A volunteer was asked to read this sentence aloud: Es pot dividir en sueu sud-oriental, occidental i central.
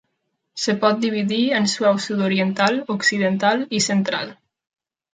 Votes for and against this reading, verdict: 1, 2, rejected